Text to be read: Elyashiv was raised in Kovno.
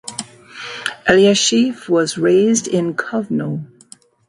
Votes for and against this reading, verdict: 2, 0, accepted